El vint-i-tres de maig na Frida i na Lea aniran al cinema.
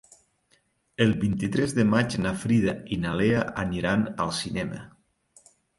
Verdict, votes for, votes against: accepted, 3, 0